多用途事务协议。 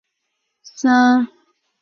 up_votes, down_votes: 0, 2